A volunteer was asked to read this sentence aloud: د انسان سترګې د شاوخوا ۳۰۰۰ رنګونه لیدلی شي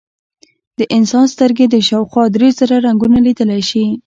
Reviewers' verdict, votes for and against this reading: rejected, 0, 2